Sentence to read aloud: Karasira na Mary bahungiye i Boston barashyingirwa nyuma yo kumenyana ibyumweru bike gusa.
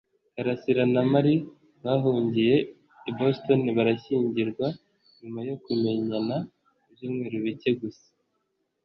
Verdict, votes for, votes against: accepted, 2, 0